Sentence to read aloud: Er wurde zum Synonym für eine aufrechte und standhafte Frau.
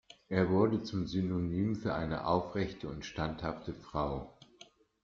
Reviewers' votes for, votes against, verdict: 2, 0, accepted